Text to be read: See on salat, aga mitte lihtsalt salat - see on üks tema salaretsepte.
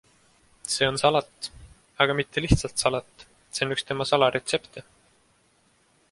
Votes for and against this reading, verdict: 2, 0, accepted